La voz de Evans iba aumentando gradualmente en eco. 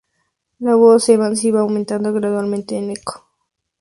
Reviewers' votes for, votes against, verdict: 4, 0, accepted